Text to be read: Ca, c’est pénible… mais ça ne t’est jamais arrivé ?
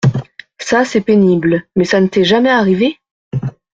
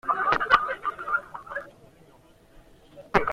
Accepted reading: first